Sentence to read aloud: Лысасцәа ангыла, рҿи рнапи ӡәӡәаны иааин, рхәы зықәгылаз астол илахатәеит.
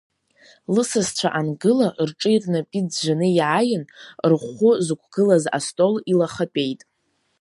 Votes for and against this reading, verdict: 2, 0, accepted